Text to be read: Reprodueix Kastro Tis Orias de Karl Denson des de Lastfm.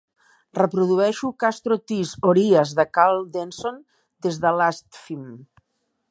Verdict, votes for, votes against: rejected, 1, 3